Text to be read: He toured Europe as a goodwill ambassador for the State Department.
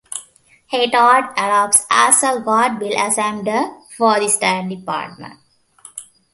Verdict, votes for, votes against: rejected, 0, 2